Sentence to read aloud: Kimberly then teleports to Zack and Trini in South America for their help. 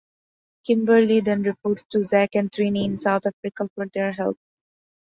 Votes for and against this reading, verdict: 0, 3, rejected